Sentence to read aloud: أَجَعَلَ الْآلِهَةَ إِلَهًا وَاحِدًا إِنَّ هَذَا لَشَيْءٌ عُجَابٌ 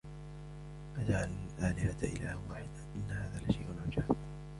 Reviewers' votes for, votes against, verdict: 1, 2, rejected